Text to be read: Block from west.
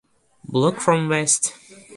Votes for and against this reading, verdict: 2, 0, accepted